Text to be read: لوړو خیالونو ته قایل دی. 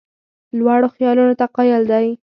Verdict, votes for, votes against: accepted, 2, 0